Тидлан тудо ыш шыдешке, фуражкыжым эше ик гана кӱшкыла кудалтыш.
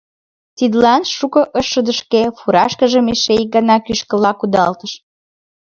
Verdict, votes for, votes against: accepted, 2, 1